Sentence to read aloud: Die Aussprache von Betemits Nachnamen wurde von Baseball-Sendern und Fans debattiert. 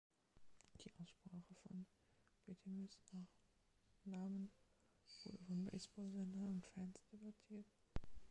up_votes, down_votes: 1, 2